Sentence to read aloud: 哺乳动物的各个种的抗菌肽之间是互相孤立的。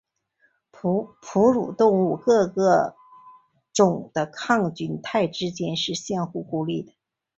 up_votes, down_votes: 0, 2